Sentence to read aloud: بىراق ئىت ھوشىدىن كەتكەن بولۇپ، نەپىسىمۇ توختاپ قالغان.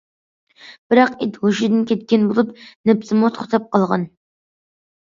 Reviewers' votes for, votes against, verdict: 2, 0, accepted